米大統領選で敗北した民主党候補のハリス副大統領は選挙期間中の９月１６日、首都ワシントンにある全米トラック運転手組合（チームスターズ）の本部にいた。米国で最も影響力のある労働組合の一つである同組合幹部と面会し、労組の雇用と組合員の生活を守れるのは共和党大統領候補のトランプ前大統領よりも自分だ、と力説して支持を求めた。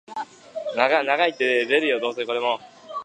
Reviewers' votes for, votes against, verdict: 0, 2, rejected